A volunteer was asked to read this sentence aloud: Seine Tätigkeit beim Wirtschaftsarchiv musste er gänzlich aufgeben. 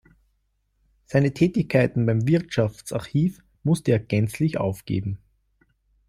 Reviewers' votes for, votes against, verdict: 1, 2, rejected